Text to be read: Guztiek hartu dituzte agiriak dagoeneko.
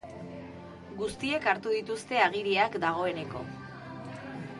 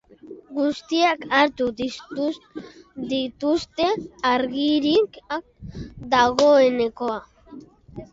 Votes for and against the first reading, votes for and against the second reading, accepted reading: 2, 1, 1, 2, first